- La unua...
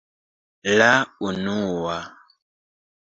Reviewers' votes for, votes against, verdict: 2, 0, accepted